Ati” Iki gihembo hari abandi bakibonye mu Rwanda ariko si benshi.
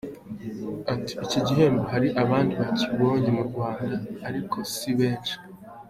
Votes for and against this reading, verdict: 2, 1, accepted